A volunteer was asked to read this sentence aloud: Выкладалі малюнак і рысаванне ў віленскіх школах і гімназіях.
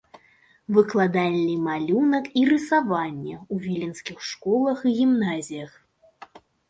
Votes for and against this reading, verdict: 1, 2, rejected